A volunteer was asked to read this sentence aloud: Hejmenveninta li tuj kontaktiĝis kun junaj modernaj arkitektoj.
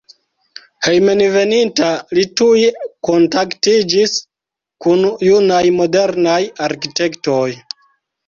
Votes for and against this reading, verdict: 0, 2, rejected